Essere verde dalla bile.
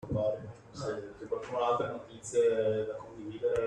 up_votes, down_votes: 0, 2